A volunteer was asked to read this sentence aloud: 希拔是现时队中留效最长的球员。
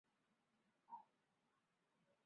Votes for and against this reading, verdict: 0, 5, rejected